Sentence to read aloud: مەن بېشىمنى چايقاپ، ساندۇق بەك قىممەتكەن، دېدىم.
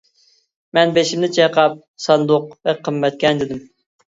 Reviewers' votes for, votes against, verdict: 2, 1, accepted